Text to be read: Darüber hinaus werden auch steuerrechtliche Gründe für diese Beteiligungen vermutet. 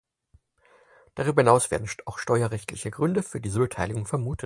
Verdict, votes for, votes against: rejected, 0, 4